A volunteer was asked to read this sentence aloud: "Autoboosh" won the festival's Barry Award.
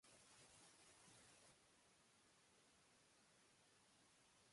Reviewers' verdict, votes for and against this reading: rejected, 0, 2